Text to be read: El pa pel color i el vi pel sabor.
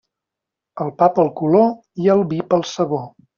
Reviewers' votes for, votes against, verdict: 2, 0, accepted